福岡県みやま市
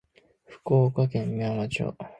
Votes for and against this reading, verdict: 0, 2, rejected